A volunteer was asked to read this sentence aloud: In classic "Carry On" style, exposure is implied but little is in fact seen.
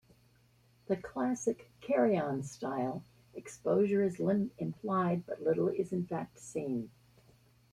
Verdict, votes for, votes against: rejected, 1, 2